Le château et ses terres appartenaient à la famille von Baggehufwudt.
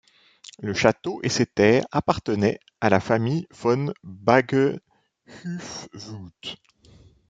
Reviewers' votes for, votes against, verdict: 2, 1, accepted